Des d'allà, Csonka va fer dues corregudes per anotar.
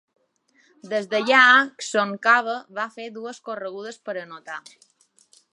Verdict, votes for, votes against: rejected, 1, 2